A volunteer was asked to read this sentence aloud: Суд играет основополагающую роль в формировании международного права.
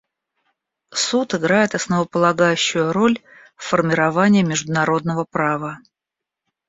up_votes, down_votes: 2, 0